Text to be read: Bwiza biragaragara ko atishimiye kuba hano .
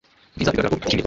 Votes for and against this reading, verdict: 0, 2, rejected